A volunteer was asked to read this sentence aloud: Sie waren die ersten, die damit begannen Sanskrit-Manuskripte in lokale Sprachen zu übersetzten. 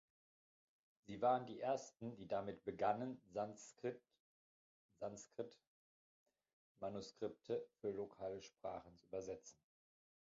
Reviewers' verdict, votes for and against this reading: rejected, 0, 2